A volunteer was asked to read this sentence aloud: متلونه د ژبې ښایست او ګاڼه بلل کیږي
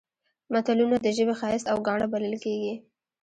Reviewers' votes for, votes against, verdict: 0, 2, rejected